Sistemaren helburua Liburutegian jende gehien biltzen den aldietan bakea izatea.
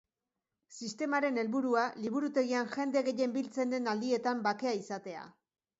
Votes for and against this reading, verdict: 3, 0, accepted